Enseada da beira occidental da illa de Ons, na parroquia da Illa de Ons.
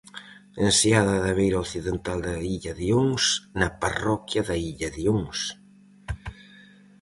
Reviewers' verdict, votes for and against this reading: accepted, 4, 0